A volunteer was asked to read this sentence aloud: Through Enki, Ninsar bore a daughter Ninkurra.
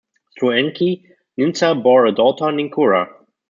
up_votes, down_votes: 1, 2